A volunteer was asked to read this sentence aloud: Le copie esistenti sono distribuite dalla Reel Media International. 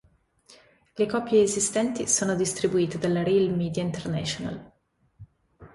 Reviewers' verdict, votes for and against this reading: accepted, 2, 0